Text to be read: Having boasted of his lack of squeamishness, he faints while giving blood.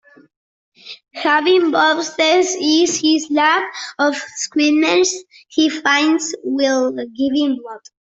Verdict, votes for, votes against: rejected, 0, 2